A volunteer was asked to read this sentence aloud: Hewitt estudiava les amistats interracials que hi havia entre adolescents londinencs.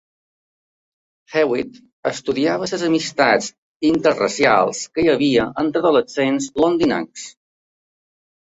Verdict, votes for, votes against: rejected, 1, 2